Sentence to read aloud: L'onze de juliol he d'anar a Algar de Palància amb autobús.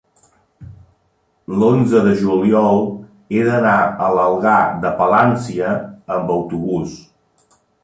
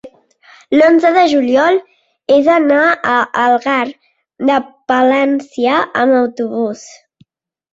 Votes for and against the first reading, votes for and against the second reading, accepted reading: 0, 2, 2, 0, second